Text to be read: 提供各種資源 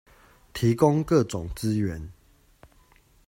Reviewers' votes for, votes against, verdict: 0, 2, rejected